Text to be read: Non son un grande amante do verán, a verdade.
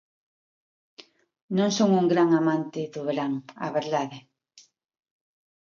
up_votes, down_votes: 2, 1